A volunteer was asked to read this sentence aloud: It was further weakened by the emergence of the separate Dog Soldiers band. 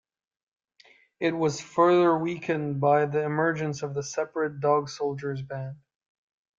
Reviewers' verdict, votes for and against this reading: accepted, 2, 1